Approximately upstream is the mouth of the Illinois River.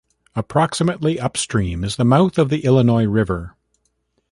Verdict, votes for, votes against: rejected, 0, 2